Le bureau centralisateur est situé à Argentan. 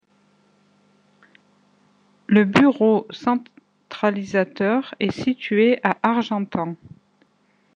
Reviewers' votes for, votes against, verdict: 1, 2, rejected